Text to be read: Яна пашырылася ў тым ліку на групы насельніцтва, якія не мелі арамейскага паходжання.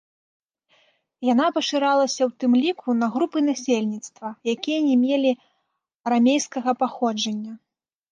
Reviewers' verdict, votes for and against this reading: rejected, 1, 2